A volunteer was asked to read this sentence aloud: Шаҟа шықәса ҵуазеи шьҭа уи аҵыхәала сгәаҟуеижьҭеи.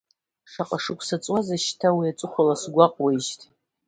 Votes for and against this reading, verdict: 2, 0, accepted